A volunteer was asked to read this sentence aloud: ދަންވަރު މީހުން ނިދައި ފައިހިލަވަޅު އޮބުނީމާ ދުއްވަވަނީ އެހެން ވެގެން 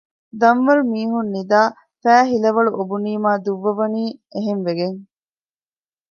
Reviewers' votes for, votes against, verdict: 1, 2, rejected